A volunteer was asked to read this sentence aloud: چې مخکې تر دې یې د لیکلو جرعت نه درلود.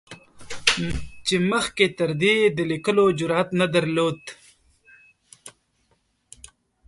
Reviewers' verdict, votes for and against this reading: rejected, 1, 2